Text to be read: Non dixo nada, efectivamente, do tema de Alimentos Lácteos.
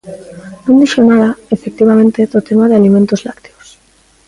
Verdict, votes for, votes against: rejected, 1, 2